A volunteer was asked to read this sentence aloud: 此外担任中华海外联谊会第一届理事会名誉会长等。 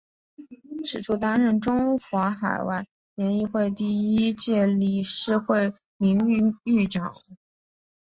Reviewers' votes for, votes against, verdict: 2, 0, accepted